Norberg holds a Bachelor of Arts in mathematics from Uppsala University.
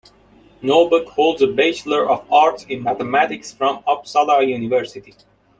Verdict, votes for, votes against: accepted, 2, 0